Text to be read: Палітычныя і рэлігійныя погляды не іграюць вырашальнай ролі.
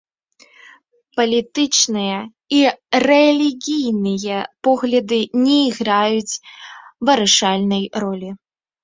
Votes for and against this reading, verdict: 0, 2, rejected